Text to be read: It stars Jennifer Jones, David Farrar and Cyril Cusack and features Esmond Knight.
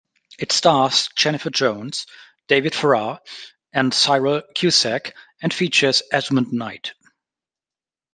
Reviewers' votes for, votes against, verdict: 2, 0, accepted